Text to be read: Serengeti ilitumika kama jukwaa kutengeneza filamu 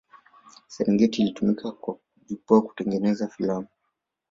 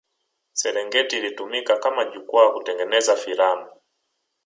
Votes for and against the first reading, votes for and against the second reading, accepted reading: 2, 0, 1, 2, first